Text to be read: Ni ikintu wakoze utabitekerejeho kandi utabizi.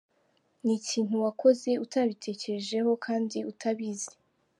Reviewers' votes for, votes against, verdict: 2, 0, accepted